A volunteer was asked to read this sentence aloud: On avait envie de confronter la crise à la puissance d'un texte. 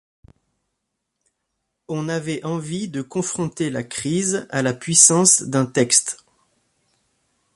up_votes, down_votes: 1, 2